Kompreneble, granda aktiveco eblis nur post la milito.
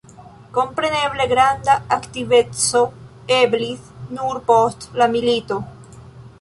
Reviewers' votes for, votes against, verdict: 2, 0, accepted